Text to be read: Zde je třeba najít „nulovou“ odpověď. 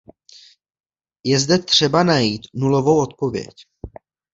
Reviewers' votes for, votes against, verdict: 1, 2, rejected